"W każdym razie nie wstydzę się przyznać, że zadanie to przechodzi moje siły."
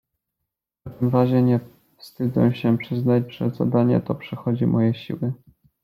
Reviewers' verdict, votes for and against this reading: rejected, 0, 2